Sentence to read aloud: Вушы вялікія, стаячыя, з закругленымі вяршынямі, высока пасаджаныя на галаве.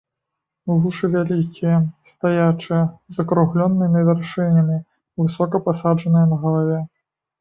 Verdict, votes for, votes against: rejected, 1, 2